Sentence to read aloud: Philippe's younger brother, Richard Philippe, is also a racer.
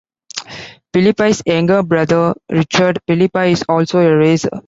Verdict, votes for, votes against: rejected, 1, 2